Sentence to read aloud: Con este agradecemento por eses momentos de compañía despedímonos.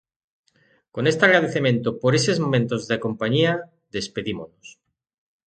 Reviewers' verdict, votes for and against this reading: rejected, 0, 2